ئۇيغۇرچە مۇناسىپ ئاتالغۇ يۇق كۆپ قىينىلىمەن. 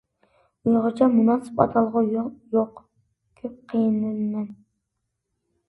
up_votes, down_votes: 0, 2